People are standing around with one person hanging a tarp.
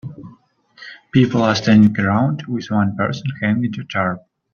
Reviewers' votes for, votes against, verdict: 1, 2, rejected